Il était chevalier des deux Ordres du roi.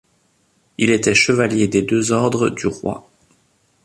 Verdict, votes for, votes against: rejected, 1, 2